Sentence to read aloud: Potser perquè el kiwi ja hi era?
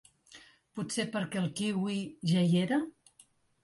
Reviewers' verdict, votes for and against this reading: accepted, 5, 0